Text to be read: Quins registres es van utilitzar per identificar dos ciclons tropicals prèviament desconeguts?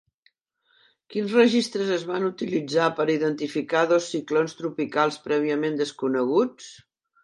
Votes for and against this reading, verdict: 3, 0, accepted